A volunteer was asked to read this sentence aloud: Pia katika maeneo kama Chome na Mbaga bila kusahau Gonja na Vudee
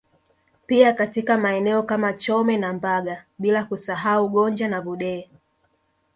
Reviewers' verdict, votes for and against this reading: accepted, 2, 0